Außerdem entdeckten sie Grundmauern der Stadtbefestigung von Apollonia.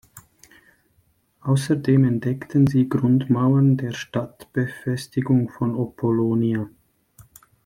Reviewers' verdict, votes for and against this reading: rejected, 0, 2